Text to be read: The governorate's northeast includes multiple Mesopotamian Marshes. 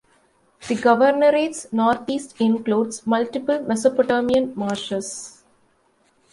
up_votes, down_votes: 1, 2